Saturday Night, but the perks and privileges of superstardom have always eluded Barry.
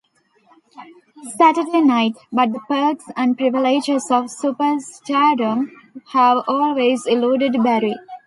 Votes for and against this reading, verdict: 2, 0, accepted